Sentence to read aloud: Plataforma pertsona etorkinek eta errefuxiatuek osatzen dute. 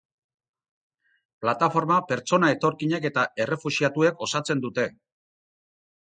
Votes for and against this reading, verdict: 4, 0, accepted